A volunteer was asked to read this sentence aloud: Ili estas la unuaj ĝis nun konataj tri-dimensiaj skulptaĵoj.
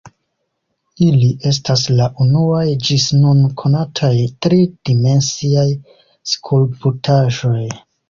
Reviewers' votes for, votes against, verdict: 2, 0, accepted